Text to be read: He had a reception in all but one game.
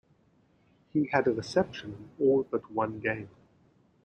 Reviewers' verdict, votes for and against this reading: rejected, 0, 2